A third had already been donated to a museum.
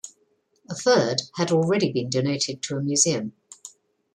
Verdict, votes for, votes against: accepted, 2, 0